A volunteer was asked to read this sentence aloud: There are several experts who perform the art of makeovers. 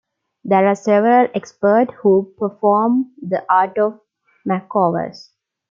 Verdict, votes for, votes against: rejected, 1, 2